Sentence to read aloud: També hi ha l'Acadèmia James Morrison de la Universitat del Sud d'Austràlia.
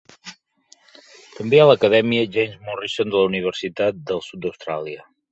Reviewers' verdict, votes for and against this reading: rejected, 1, 2